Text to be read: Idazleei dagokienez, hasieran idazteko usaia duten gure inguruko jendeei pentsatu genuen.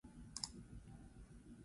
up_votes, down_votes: 0, 4